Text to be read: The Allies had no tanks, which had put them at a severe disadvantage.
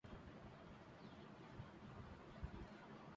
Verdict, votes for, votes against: rejected, 0, 2